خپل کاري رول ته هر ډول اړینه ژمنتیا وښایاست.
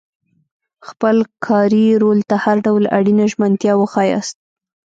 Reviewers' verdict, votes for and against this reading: rejected, 0, 2